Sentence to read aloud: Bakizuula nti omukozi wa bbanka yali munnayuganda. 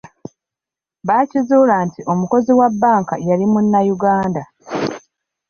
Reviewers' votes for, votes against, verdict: 2, 0, accepted